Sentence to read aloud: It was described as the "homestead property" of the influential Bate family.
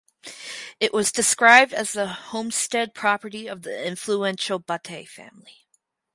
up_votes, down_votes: 2, 2